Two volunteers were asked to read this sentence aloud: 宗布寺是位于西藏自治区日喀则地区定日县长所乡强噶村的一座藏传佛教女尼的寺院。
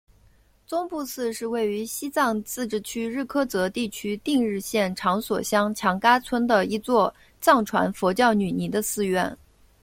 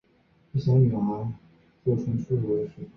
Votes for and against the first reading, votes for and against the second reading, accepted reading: 2, 0, 0, 2, first